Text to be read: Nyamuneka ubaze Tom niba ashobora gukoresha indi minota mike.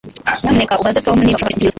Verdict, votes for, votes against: rejected, 0, 2